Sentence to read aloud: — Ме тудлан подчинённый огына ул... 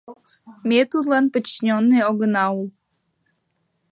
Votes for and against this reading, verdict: 0, 2, rejected